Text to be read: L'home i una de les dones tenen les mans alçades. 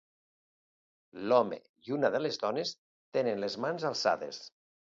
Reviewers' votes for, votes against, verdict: 2, 0, accepted